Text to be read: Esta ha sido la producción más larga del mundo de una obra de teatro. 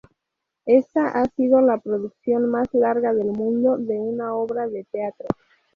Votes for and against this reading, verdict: 0, 2, rejected